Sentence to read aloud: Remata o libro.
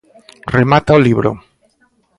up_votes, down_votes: 2, 0